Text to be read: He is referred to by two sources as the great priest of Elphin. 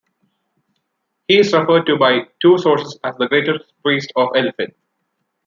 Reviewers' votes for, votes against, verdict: 0, 2, rejected